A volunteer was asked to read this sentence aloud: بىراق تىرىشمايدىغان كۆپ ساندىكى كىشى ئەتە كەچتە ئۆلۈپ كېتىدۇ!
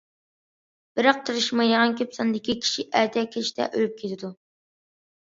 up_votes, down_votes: 2, 0